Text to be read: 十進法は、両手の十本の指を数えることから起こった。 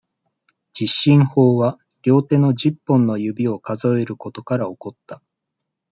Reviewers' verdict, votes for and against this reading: accepted, 2, 0